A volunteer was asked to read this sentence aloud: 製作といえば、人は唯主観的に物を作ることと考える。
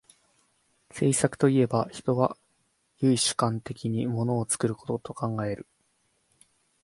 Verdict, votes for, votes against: accepted, 2, 0